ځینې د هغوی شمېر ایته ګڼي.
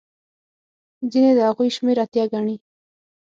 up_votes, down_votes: 6, 0